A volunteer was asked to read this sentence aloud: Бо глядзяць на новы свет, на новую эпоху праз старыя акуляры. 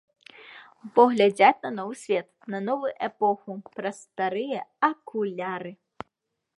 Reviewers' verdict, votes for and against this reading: rejected, 2, 3